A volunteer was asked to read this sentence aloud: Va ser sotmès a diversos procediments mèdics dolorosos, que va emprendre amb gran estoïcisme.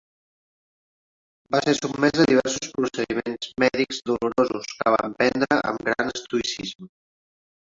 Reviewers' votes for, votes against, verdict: 1, 2, rejected